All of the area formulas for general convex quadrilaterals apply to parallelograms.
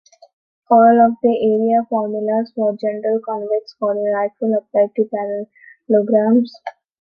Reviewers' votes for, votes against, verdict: 0, 2, rejected